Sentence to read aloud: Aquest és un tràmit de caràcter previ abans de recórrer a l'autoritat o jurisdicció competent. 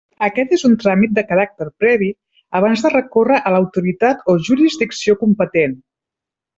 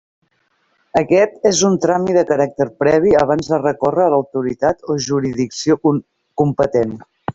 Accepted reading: first